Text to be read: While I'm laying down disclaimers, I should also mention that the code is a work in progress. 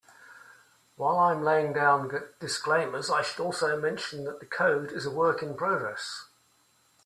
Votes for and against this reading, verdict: 0, 2, rejected